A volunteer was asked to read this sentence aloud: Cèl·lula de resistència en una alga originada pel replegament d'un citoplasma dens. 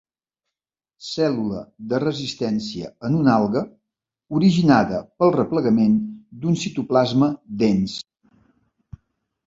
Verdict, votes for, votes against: accepted, 2, 0